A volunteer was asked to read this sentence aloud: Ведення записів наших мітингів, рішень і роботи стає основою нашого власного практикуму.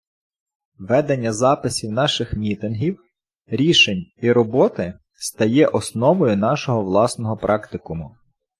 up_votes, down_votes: 2, 0